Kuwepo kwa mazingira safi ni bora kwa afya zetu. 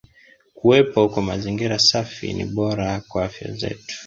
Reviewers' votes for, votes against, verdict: 0, 2, rejected